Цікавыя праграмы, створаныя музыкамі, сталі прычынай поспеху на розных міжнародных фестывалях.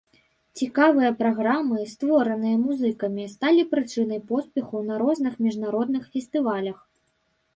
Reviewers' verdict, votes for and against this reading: accepted, 2, 0